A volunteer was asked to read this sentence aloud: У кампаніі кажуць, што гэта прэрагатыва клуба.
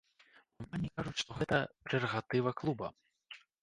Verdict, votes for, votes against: rejected, 0, 2